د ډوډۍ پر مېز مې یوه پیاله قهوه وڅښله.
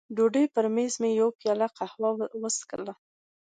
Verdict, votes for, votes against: accepted, 2, 0